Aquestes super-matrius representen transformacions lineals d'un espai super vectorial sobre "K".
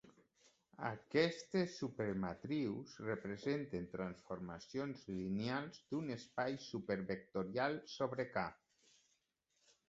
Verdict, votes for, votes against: accepted, 2, 0